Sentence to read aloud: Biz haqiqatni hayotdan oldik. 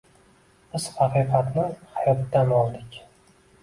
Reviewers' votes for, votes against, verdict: 2, 0, accepted